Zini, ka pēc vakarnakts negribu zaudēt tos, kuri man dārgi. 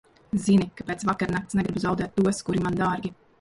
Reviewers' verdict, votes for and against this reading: rejected, 1, 2